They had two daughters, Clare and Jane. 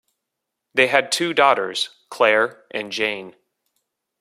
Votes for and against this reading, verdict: 2, 0, accepted